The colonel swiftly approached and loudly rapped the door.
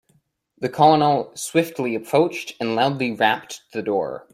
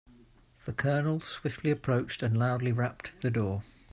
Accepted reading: second